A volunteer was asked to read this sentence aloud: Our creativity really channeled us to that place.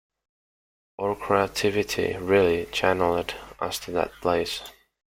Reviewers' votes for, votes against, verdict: 2, 0, accepted